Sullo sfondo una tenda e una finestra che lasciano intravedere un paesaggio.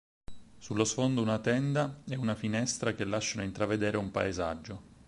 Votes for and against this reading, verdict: 4, 0, accepted